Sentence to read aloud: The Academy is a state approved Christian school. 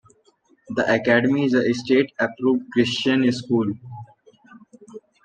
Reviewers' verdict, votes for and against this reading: rejected, 1, 2